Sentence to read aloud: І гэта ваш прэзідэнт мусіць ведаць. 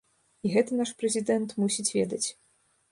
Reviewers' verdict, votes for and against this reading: rejected, 1, 2